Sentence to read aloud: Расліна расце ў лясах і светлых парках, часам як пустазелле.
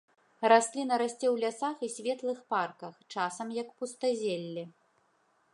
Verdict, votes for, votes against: accepted, 2, 0